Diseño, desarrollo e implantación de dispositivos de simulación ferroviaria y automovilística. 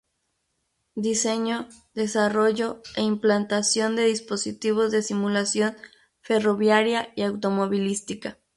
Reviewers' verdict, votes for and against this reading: accepted, 6, 0